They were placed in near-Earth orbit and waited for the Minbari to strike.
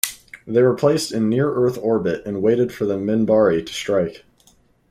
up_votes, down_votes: 4, 0